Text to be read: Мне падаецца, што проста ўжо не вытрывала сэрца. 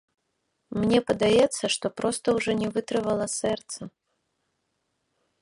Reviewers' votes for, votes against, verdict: 1, 2, rejected